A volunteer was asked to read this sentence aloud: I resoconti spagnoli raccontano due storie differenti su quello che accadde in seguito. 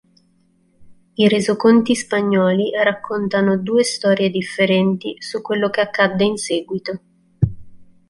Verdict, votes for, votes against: accepted, 2, 0